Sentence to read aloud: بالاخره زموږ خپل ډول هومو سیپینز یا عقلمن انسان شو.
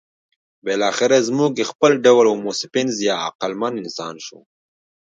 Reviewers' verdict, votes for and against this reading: accepted, 2, 0